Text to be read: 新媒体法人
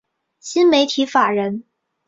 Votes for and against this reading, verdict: 3, 0, accepted